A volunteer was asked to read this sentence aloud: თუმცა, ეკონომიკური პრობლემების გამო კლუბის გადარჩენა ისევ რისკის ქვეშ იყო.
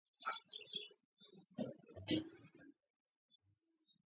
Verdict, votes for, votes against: rejected, 0, 2